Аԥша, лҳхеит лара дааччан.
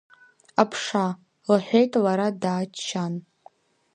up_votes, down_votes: 2, 0